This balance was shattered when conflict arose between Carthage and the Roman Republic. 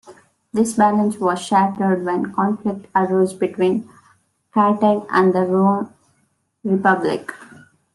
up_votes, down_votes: 2, 1